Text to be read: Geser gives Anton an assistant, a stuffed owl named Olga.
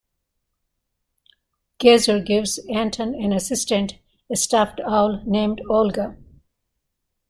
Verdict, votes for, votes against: accepted, 2, 0